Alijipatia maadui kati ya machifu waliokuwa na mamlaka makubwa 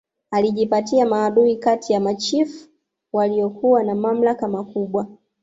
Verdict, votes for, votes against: accepted, 2, 0